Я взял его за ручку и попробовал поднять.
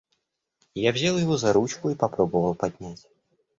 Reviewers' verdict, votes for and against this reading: accepted, 3, 0